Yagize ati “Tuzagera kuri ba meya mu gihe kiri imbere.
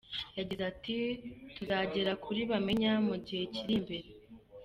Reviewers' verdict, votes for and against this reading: rejected, 0, 2